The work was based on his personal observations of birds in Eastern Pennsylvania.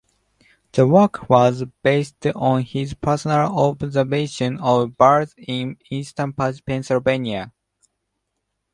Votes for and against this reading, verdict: 0, 2, rejected